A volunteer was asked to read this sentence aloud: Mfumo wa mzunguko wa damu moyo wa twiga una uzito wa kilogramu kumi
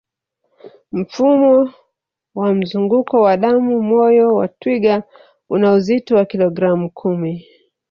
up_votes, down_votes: 1, 2